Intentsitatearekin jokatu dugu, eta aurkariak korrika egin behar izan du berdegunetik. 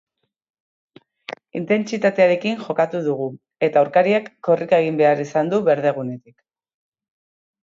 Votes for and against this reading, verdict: 2, 1, accepted